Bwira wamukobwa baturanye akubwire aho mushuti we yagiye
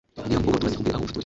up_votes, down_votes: 2, 1